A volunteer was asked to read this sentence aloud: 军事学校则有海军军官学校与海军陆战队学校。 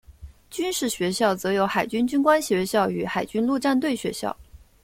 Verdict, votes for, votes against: accepted, 2, 0